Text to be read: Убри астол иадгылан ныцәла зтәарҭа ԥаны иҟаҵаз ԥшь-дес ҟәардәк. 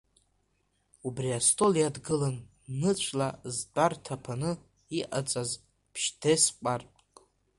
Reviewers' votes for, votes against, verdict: 2, 0, accepted